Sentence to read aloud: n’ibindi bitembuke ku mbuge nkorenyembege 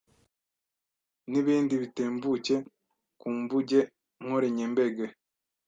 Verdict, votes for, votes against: rejected, 1, 2